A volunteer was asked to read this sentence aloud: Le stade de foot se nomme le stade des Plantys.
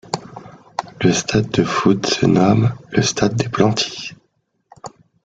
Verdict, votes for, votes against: accepted, 2, 0